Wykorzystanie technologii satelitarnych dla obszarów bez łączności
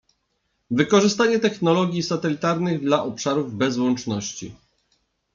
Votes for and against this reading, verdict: 2, 0, accepted